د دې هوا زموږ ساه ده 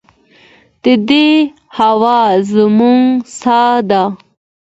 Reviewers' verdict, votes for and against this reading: accepted, 2, 0